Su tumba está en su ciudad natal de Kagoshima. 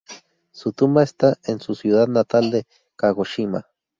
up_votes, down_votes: 2, 0